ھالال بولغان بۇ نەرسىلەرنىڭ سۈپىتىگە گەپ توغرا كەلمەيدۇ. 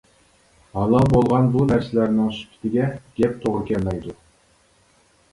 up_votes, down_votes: 2, 0